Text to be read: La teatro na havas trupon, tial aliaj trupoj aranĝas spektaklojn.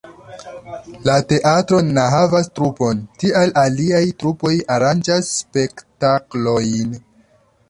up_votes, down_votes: 1, 2